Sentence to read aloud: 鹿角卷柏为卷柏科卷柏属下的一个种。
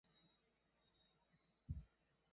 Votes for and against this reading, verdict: 0, 5, rejected